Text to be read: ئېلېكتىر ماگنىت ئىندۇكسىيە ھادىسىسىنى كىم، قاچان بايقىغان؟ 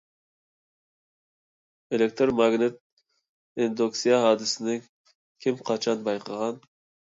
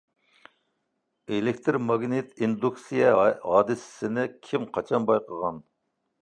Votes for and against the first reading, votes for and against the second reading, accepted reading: 2, 0, 0, 2, first